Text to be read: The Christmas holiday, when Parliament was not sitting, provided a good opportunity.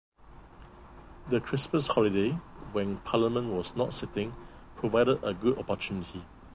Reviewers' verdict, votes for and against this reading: rejected, 0, 2